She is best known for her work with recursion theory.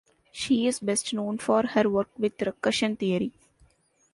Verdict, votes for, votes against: accepted, 2, 1